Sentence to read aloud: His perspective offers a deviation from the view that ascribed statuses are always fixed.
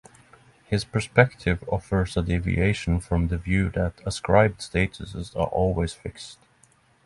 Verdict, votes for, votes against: accepted, 6, 0